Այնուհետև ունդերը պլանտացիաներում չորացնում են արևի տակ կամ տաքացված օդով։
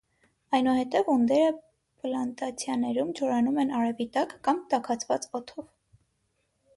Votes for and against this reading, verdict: 3, 6, rejected